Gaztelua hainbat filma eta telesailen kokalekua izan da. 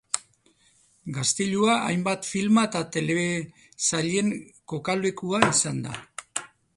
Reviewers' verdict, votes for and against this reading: rejected, 0, 2